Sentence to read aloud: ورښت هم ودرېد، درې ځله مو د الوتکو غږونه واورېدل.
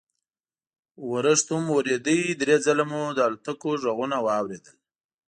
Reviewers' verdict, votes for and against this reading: accepted, 2, 0